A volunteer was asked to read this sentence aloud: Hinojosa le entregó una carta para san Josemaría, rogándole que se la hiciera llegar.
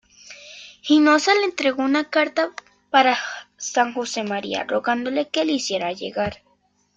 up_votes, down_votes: 1, 2